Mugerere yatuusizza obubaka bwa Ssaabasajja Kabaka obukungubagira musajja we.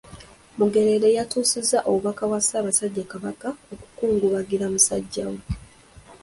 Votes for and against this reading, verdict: 2, 1, accepted